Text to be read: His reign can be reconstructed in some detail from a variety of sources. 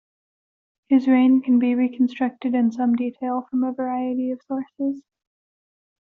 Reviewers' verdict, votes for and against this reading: accepted, 2, 0